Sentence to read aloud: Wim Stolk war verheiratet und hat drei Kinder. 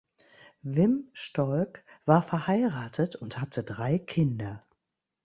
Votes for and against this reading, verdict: 0, 2, rejected